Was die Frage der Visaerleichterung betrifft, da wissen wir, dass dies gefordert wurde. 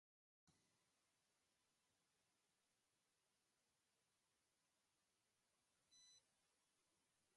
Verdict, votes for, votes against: rejected, 1, 2